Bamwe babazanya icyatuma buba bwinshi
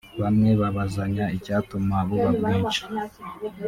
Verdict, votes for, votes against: rejected, 0, 2